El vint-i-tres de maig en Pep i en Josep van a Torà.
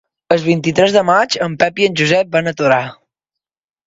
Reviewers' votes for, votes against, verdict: 2, 0, accepted